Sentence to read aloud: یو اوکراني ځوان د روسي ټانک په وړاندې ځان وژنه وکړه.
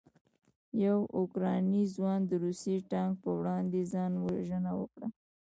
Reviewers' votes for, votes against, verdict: 1, 2, rejected